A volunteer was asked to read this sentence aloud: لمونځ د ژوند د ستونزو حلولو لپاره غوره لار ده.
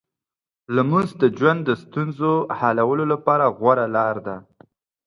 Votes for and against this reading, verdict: 3, 0, accepted